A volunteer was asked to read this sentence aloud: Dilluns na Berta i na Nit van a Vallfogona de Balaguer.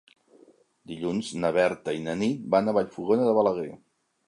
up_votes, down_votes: 3, 0